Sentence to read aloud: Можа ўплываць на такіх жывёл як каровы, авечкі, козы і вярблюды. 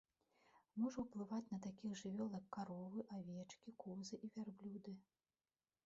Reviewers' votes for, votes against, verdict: 0, 2, rejected